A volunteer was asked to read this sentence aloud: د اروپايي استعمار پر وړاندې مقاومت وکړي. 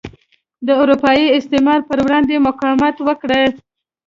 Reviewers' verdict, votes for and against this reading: rejected, 1, 2